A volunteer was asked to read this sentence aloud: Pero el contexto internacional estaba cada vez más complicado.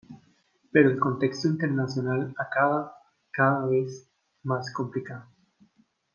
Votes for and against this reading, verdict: 1, 2, rejected